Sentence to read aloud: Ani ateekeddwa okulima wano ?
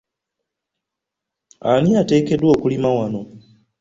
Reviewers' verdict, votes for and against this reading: accepted, 2, 0